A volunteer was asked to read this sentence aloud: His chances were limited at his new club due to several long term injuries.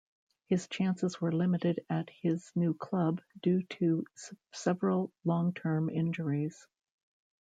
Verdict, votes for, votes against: rejected, 1, 2